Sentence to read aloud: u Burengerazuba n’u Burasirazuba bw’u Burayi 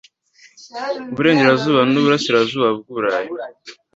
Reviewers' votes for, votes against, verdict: 2, 0, accepted